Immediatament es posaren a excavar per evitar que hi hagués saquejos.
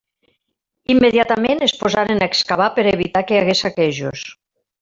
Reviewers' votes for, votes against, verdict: 2, 0, accepted